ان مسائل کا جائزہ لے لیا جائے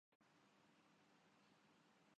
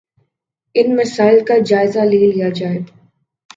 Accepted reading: second